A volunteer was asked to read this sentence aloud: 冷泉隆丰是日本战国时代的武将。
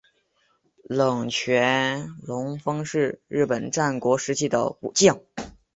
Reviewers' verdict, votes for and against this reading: accepted, 3, 0